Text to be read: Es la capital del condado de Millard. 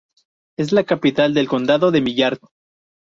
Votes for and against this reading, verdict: 2, 2, rejected